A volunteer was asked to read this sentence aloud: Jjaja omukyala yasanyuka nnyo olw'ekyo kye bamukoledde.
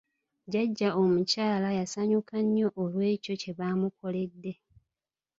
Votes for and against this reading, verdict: 3, 1, accepted